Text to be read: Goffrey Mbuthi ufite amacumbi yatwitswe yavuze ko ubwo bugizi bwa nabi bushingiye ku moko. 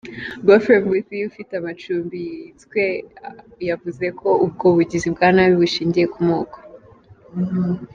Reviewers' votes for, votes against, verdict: 2, 1, accepted